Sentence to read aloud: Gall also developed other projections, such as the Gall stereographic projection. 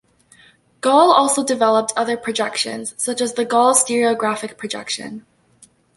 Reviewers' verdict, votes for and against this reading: accepted, 2, 1